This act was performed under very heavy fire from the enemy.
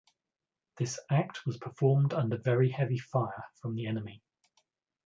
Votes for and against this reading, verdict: 2, 0, accepted